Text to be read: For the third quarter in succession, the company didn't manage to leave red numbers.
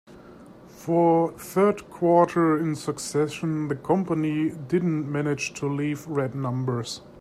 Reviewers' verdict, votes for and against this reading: accepted, 2, 0